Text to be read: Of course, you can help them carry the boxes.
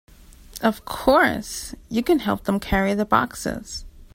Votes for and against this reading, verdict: 2, 0, accepted